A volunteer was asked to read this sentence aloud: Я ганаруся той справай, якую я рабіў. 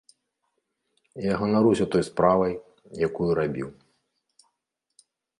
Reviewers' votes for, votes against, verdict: 0, 2, rejected